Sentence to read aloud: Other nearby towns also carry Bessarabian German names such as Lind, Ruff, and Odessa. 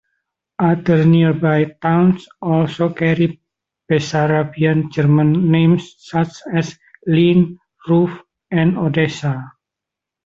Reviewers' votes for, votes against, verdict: 1, 2, rejected